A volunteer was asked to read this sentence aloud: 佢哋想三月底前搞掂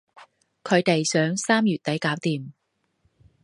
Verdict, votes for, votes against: rejected, 0, 2